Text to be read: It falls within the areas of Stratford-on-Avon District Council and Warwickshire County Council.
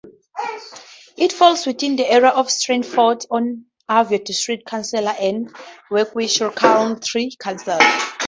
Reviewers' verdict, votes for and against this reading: rejected, 0, 6